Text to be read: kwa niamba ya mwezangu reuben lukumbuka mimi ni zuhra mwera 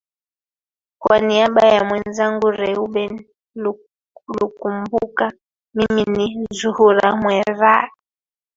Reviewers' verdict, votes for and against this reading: rejected, 0, 2